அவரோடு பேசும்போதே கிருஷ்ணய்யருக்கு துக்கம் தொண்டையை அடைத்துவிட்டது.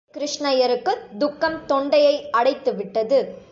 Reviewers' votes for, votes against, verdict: 0, 2, rejected